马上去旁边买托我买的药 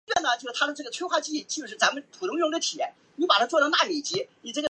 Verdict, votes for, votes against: rejected, 0, 2